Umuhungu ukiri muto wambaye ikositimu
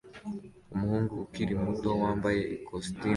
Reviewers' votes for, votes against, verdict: 2, 0, accepted